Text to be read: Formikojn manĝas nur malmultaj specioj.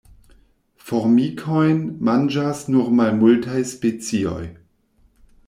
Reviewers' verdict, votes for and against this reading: rejected, 1, 2